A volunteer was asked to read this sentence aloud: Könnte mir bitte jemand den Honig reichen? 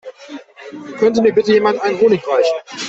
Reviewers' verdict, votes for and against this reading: rejected, 0, 2